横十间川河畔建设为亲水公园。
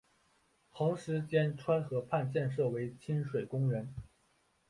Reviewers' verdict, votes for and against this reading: accepted, 4, 1